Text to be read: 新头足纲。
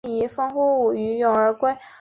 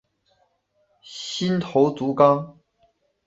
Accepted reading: second